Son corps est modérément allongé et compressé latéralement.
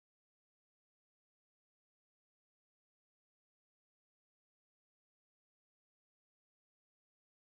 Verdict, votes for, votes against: rejected, 0, 2